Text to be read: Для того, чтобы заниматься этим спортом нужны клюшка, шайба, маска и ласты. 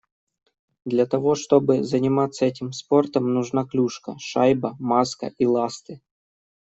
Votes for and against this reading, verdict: 1, 2, rejected